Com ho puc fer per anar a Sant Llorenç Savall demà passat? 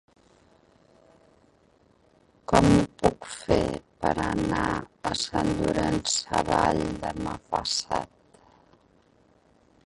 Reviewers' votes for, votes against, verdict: 0, 3, rejected